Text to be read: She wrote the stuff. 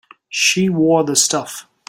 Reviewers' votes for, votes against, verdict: 1, 2, rejected